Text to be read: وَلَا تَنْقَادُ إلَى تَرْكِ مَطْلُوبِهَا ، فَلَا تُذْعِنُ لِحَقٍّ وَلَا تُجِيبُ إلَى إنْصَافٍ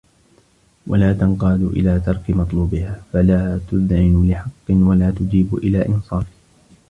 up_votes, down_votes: 2, 1